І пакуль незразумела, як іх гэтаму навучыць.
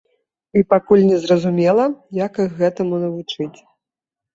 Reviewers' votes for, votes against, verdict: 2, 0, accepted